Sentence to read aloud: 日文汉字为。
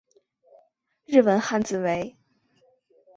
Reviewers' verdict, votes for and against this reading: accepted, 2, 0